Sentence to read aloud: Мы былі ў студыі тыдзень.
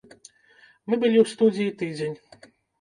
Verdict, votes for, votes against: rejected, 1, 3